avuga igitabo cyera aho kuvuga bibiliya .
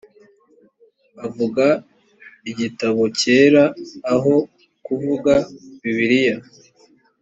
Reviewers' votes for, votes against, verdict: 2, 0, accepted